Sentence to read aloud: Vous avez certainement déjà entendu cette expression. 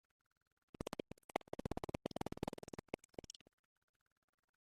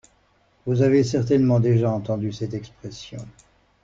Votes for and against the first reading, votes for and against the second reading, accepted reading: 0, 2, 2, 0, second